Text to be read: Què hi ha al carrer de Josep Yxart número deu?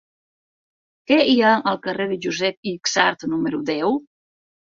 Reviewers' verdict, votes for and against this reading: accepted, 6, 4